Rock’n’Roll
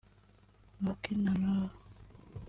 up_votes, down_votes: 0, 2